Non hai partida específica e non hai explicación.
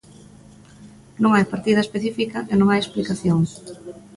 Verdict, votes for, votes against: accepted, 2, 1